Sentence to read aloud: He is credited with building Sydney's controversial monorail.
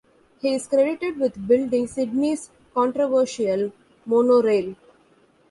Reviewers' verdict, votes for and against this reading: accepted, 2, 0